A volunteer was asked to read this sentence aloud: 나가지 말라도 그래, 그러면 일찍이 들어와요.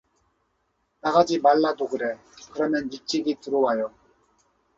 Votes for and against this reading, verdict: 2, 0, accepted